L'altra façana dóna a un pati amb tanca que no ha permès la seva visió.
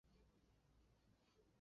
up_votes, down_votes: 1, 2